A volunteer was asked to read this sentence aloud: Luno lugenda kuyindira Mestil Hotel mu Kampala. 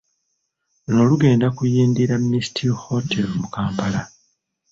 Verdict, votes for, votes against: rejected, 1, 2